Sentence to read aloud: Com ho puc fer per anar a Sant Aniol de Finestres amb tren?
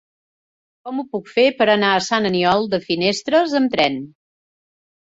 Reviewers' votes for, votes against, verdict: 3, 0, accepted